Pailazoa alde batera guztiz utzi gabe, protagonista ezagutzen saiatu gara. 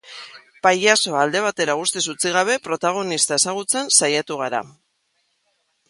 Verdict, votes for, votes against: accepted, 2, 0